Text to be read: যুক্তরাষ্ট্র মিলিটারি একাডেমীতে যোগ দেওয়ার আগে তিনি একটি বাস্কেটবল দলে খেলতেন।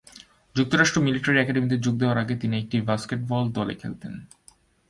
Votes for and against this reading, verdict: 2, 0, accepted